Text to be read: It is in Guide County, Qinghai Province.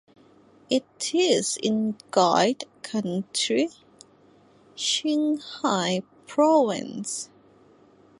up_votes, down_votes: 1, 2